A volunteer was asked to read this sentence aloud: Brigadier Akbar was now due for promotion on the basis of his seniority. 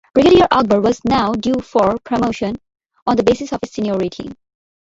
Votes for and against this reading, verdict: 1, 2, rejected